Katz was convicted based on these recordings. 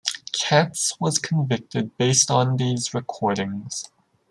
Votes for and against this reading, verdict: 2, 0, accepted